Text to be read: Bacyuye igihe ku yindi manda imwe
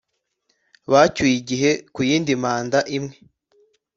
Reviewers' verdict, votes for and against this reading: accepted, 2, 0